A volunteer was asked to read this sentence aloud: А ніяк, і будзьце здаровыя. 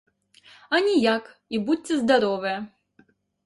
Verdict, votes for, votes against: accepted, 2, 0